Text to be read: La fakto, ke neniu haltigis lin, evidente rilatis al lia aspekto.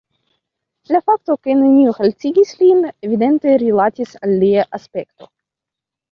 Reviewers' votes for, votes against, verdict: 0, 2, rejected